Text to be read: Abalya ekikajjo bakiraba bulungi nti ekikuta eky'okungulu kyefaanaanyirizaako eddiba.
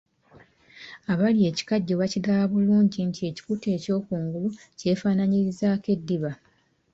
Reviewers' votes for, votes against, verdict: 2, 0, accepted